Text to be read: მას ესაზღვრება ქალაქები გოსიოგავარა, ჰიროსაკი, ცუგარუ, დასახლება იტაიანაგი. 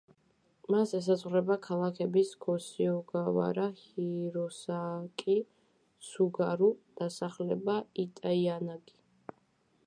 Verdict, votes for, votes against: accepted, 2, 0